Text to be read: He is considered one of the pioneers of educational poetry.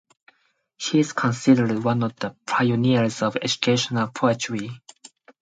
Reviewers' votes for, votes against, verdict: 4, 0, accepted